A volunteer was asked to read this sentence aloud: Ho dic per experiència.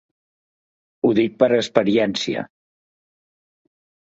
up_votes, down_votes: 3, 0